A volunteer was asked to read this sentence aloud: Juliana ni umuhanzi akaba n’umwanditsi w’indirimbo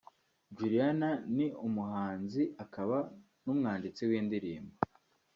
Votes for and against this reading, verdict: 2, 1, accepted